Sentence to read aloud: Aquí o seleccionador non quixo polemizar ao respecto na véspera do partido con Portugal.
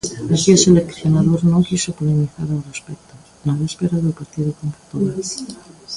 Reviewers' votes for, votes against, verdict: 1, 2, rejected